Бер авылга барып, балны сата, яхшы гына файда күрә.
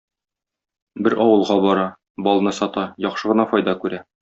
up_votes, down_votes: 1, 2